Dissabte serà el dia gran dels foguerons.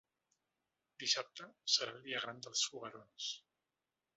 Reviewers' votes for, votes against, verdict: 2, 0, accepted